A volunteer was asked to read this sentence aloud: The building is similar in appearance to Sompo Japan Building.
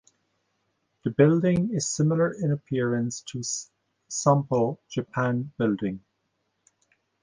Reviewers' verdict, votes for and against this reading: rejected, 0, 2